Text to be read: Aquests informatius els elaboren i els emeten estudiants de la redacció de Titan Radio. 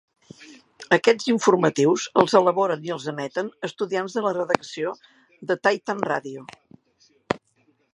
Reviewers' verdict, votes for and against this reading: rejected, 1, 2